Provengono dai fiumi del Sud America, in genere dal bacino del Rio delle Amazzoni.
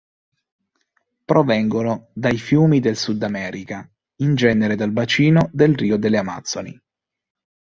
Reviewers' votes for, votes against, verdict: 2, 0, accepted